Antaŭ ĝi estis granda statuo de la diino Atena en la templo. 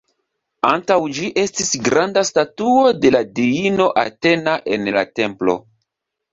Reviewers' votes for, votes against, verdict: 2, 0, accepted